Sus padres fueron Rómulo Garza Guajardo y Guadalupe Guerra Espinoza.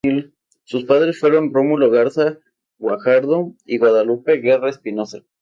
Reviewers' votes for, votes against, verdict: 2, 0, accepted